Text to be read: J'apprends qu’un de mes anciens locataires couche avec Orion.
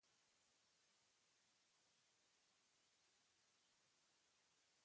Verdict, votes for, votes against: rejected, 0, 2